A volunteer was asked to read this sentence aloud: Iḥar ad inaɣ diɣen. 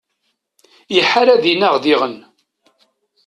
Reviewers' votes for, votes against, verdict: 2, 0, accepted